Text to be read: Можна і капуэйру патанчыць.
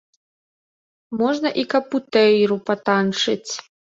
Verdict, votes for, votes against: rejected, 1, 3